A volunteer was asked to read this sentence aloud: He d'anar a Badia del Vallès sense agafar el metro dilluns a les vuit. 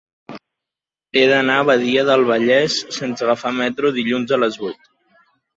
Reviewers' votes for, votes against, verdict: 1, 2, rejected